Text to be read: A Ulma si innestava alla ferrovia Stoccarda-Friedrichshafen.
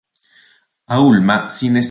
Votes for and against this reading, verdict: 0, 2, rejected